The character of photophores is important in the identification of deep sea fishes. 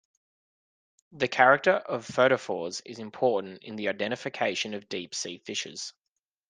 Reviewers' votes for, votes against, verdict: 2, 0, accepted